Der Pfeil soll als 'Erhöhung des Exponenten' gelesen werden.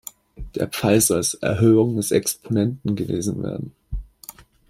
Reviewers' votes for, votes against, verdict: 1, 2, rejected